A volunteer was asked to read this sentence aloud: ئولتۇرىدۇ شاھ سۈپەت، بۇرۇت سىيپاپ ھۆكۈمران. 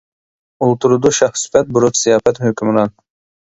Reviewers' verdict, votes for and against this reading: rejected, 0, 2